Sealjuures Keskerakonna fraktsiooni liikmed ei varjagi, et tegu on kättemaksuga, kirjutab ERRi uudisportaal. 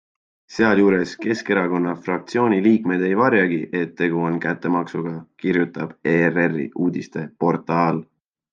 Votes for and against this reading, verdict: 0, 2, rejected